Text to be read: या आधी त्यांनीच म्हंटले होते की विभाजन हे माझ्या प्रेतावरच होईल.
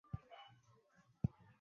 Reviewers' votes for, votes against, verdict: 0, 2, rejected